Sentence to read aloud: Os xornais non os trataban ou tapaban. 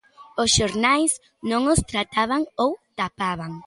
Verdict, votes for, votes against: accepted, 3, 0